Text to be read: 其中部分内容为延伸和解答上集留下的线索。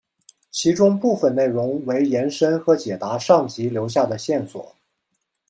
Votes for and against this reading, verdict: 2, 0, accepted